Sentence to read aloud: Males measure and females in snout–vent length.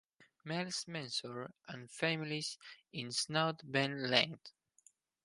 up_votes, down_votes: 2, 4